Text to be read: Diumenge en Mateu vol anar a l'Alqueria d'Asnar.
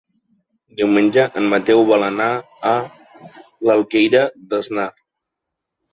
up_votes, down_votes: 1, 2